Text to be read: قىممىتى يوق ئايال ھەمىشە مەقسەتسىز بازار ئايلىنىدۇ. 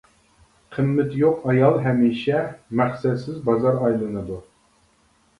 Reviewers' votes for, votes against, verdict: 2, 0, accepted